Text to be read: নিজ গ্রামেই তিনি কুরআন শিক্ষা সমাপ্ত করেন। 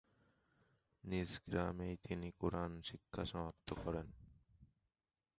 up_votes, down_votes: 0, 2